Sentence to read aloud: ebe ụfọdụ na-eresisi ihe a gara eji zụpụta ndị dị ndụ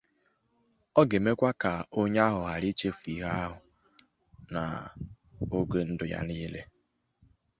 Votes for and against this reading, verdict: 0, 2, rejected